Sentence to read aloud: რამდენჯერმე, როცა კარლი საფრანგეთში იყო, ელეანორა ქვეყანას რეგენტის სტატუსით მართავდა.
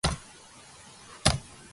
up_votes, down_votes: 0, 2